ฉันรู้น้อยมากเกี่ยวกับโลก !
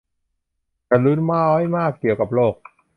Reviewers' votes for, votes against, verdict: 2, 0, accepted